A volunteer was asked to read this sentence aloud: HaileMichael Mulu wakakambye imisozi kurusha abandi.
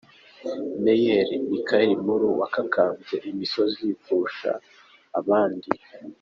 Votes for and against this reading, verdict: 2, 0, accepted